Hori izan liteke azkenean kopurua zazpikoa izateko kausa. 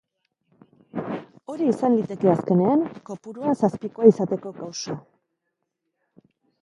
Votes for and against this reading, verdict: 1, 2, rejected